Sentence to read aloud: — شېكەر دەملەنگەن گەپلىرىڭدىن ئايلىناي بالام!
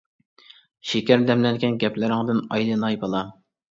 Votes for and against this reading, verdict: 0, 2, rejected